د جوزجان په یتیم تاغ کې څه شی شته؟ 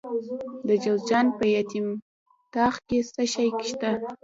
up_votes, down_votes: 1, 2